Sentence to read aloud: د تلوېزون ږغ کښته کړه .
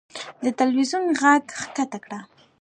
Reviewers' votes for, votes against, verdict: 1, 2, rejected